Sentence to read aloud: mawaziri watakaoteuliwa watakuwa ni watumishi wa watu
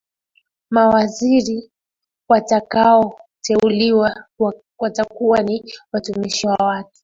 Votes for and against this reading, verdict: 0, 2, rejected